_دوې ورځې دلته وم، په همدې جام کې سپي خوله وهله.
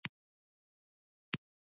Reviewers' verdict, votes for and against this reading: rejected, 0, 2